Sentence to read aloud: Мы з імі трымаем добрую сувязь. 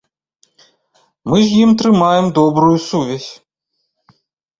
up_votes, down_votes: 1, 2